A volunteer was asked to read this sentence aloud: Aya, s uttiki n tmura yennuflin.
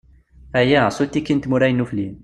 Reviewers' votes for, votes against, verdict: 2, 0, accepted